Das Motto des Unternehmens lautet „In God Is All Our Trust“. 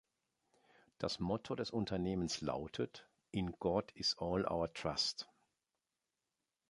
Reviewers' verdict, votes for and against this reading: accepted, 2, 0